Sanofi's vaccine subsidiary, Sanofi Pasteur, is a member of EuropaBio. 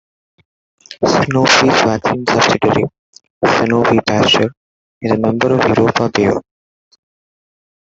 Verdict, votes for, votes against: rejected, 0, 2